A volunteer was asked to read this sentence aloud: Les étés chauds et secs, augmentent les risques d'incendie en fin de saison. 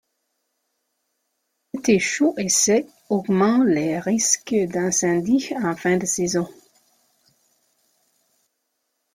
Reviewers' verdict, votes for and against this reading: accepted, 2, 1